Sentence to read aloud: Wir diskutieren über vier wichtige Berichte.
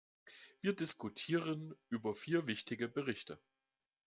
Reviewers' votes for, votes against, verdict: 2, 0, accepted